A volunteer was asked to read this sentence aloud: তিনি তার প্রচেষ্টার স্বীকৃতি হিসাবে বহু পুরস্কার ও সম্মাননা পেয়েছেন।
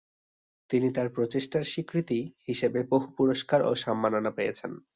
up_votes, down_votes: 2, 0